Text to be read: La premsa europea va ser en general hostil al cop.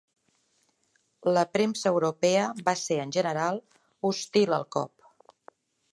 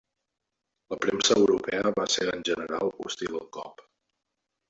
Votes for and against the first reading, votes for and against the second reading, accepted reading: 4, 0, 0, 2, first